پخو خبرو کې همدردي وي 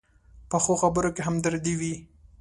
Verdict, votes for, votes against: accepted, 2, 0